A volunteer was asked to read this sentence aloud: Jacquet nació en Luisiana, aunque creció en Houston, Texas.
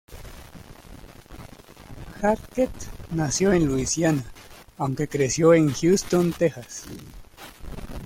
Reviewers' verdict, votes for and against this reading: rejected, 0, 2